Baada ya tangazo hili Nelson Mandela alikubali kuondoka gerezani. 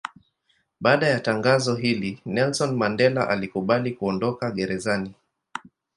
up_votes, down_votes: 2, 0